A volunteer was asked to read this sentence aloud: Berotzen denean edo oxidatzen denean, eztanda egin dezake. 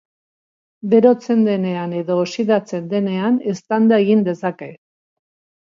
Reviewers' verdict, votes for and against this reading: accepted, 2, 1